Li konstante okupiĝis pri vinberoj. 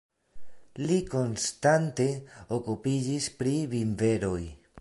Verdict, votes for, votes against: rejected, 1, 2